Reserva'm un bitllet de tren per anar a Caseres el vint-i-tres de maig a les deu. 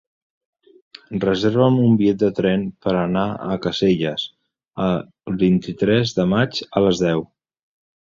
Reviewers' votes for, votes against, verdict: 0, 3, rejected